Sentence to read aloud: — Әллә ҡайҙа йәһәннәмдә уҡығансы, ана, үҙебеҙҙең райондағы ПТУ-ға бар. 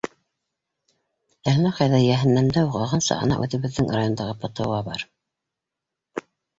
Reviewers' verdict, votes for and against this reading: rejected, 1, 2